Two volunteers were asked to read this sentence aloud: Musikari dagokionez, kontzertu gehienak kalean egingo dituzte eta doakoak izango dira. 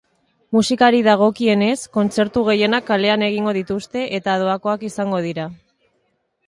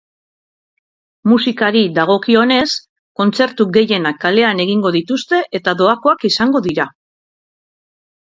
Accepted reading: second